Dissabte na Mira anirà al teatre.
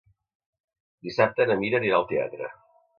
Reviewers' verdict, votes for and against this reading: accepted, 2, 0